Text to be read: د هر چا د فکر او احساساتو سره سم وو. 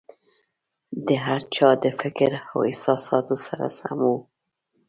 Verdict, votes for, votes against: accepted, 2, 0